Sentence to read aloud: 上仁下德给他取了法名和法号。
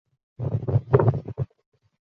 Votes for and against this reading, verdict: 1, 2, rejected